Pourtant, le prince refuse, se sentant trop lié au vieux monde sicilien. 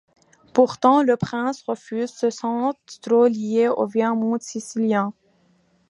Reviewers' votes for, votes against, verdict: 1, 2, rejected